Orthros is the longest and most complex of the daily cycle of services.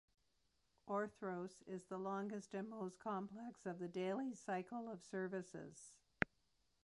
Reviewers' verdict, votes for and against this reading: rejected, 0, 2